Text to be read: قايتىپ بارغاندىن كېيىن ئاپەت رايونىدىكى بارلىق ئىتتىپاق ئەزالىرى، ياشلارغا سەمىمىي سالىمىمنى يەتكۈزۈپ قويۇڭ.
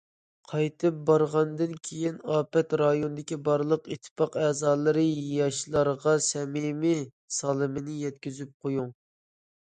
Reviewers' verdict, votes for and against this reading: rejected, 0, 2